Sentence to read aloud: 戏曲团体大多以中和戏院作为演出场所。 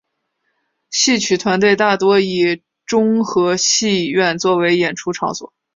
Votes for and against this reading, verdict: 2, 0, accepted